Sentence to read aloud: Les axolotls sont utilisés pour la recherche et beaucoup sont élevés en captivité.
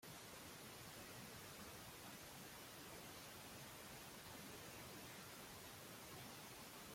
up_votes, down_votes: 0, 2